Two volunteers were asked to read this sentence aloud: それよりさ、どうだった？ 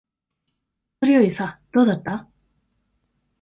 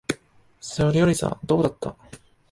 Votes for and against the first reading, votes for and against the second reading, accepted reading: 1, 2, 2, 0, second